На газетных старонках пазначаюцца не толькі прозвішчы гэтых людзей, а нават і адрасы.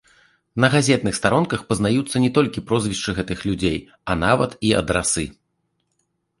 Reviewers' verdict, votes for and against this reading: rejected, 1, 2